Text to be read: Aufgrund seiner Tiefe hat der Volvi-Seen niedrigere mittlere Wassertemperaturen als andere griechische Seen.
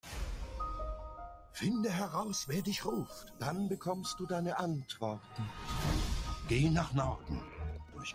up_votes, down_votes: 0, 2